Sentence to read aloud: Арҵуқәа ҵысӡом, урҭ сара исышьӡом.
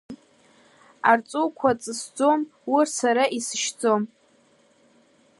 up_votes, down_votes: 2, 1